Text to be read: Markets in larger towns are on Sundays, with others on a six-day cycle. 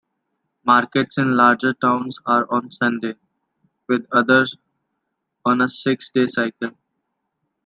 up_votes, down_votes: 1, 2